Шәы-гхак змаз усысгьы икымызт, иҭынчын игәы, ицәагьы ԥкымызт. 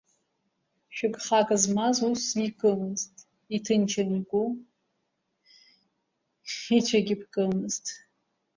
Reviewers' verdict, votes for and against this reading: accepted, 2, 1